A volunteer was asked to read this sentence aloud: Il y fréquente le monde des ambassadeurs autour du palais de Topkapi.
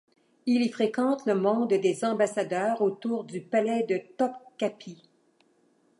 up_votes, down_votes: 2, 0